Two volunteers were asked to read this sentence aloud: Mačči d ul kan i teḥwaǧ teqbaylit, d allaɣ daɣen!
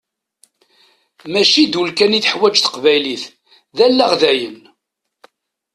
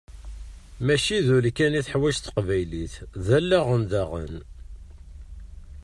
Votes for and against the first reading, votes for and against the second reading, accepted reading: 1, 2, 2, 0, second